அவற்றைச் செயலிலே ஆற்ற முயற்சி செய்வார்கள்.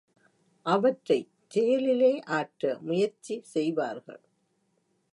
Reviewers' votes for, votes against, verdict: 2, 1, accepted